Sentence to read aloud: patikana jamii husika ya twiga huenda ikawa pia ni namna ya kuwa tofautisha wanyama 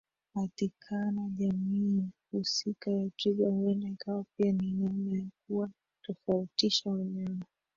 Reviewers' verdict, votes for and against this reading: rejected, 1, 2